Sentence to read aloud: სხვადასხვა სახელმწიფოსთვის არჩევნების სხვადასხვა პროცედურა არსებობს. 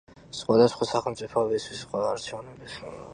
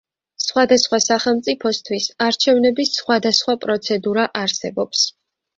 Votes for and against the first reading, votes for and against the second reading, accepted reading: 1, 2, 2, 0, second